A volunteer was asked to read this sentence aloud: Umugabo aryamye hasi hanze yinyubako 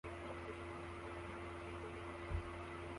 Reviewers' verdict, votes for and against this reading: rejected, 0, 2